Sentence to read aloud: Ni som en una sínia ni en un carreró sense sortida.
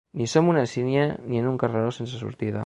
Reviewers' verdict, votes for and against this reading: rejected, 1, 2